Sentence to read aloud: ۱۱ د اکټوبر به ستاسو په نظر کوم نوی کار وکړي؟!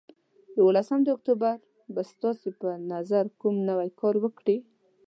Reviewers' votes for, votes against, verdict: 0, 2, rejected